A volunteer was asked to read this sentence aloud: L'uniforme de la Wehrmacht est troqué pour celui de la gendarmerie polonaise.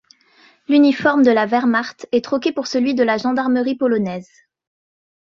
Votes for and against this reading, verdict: 2, 0, accepted